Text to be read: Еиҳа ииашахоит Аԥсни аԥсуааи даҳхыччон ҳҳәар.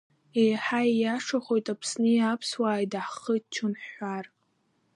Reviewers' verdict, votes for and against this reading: accepted, 2, 1